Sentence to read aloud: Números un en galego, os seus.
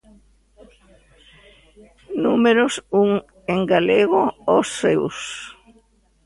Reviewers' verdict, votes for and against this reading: accepted, 2, 1